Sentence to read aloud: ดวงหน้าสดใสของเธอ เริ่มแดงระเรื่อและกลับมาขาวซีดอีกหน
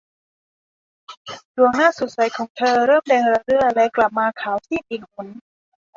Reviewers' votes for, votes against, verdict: 0, 2, rejected